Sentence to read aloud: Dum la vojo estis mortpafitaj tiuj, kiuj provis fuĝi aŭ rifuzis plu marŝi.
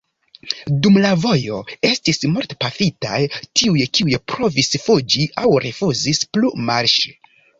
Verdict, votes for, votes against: accepted, 2, 0